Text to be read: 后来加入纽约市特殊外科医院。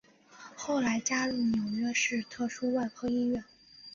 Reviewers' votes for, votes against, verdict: 2, 0, accepted